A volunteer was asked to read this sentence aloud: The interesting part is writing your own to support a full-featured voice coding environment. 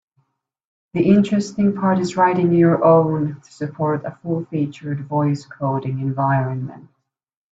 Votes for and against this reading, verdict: 2, 0, accepted